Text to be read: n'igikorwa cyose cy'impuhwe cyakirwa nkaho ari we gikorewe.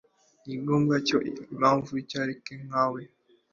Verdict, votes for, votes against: rejected, 0, 3